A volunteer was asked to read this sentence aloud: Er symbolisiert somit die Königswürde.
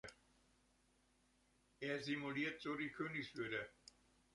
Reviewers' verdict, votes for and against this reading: rejected, 0, 2